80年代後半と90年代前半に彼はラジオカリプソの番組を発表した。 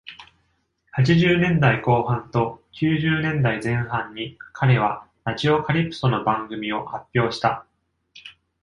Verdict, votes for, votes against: rejected, 0, 2